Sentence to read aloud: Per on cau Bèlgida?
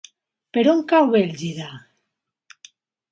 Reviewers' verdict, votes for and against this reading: accepted, 3, 0